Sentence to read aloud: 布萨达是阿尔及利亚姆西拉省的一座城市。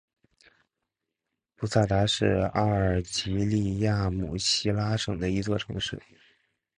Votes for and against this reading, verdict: 4, 1, accepted